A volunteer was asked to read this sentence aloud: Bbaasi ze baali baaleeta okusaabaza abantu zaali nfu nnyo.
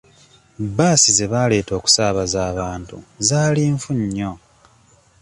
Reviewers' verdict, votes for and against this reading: rejected, 1, 2